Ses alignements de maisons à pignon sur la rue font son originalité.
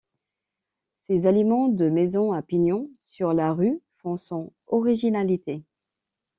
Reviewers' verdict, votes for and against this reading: rejected, 0, 2